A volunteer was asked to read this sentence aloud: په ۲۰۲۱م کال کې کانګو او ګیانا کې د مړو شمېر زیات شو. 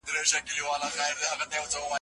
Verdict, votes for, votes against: rejected, 0, 2